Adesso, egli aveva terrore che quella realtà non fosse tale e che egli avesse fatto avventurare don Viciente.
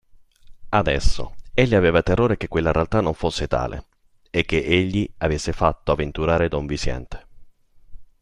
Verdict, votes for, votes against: accepted, 2, 0